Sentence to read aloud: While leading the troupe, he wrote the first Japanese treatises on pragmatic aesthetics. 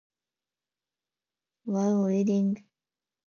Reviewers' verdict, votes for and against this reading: rejected, 0, 2